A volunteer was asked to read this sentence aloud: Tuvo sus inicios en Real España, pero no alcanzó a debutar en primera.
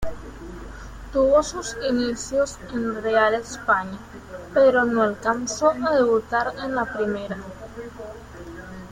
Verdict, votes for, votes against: rejected, 0, 2